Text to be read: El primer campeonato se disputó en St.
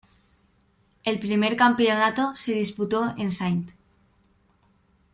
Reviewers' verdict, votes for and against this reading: rejected, 1, 2